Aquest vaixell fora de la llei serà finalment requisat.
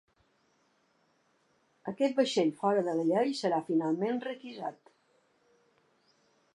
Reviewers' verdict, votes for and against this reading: accepted, 3, 0